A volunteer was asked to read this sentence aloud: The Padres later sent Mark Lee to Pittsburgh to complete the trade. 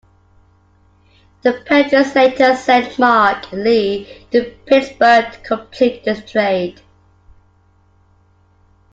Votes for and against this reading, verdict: 2, 0, accepted